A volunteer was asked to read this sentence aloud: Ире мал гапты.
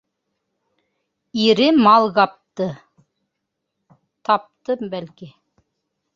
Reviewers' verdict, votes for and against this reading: rejected, 1, 3